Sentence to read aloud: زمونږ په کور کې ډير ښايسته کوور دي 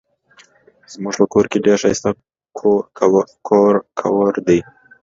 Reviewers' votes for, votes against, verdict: 2, 0, accepted